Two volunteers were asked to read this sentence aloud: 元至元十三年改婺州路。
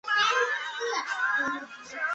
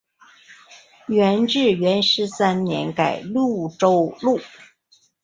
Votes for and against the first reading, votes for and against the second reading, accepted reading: 2, 4, 5, 0, second